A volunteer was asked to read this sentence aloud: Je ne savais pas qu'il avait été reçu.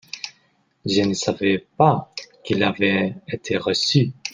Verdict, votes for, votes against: accepted, 2, 0